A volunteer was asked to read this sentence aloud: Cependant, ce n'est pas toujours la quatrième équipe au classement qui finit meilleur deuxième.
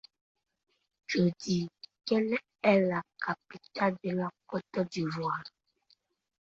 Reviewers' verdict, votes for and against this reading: rejected, 1, 2